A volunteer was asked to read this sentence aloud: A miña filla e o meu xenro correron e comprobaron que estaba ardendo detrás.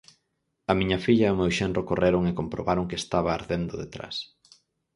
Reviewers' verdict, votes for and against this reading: accepted, 4, 0